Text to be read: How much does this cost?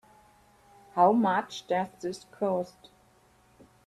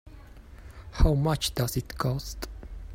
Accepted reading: first